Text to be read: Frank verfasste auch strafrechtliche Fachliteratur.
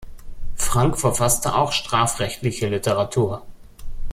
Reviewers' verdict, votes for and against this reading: rejected, 0, 2